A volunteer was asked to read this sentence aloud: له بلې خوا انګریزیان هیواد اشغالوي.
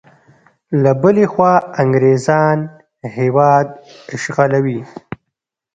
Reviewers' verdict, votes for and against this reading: rejected, 0, 2